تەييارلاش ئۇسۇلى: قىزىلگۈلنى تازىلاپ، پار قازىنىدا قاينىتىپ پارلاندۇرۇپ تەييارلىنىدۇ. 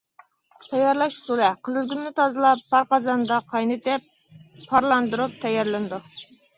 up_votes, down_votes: 1, 2